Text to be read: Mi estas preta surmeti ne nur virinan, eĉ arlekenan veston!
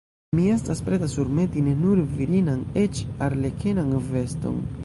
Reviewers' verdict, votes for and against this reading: rejected, 1, 2